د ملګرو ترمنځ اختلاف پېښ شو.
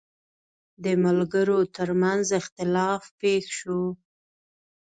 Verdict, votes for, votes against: accepted, 2, 1